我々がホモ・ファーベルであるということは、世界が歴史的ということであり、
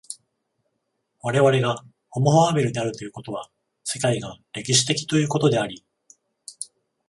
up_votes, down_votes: 14, 7